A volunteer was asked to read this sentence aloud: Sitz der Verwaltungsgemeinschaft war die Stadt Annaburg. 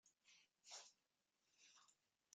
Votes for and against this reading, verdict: 0, 2, rejected